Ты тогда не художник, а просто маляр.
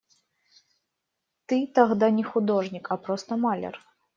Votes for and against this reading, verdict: 1, 2, rejected